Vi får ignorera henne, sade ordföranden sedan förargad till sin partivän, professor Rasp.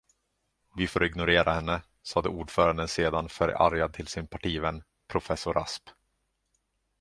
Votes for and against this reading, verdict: 2, 0, accepted